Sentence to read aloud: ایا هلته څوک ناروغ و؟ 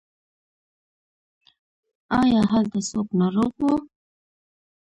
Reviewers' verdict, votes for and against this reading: accepted, 2, 0